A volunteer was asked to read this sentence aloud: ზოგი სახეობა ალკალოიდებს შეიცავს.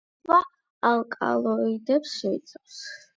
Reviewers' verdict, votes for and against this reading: rejected, 4, 8